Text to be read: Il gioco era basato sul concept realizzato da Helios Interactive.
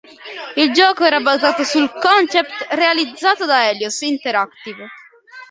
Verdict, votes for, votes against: accepted, 2, 0